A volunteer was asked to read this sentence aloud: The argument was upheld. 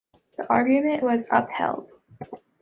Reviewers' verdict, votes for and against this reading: accepted, 2, 0